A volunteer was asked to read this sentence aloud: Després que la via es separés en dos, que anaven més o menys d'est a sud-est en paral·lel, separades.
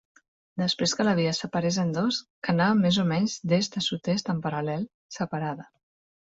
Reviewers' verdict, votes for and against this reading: rejected, 1, 2